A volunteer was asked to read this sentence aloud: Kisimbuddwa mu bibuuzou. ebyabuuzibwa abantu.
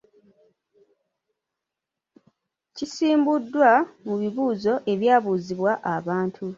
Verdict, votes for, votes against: rejected, 1, 2